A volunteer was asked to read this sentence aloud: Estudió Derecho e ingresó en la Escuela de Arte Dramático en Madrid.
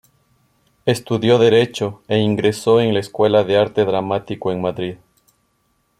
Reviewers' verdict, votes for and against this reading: accepted, 2, 0